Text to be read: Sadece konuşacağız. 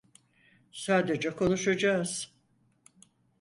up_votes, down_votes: 4, 0